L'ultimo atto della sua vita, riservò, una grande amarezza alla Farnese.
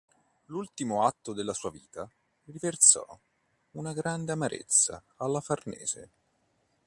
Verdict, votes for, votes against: rejected, 0, 2